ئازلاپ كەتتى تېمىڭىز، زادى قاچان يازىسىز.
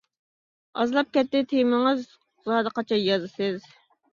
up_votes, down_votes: 2, 0